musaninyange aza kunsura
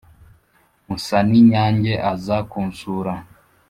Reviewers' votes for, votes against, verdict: 2, 0, accepted